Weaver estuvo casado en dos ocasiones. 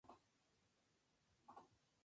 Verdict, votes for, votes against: rejected, 0, 2